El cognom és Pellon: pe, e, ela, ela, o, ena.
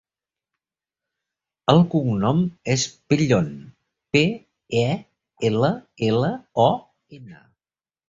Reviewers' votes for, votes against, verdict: 2, 1, accepted